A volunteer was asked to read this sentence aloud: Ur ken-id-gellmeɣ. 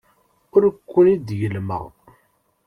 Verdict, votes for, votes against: rejected, 1, 2